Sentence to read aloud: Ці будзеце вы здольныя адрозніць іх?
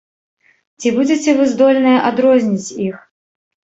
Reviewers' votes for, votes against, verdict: 0, 2, rejected